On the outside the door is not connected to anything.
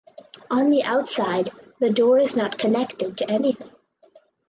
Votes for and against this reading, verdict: 4, 0, accepted